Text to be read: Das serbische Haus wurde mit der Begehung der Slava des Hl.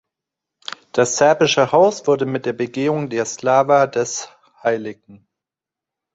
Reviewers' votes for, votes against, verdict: 2, 0, accepted